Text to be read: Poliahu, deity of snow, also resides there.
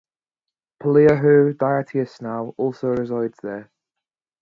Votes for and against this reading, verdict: 0, 2, rejected